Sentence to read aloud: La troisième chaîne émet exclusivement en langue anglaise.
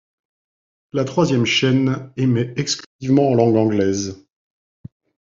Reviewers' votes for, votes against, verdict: 1, 2, rejected